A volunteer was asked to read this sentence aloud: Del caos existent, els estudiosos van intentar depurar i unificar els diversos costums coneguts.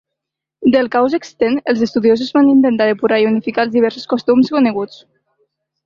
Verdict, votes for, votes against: accepted, 2, 0